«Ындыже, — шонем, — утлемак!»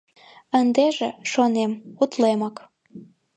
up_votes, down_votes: 1, 2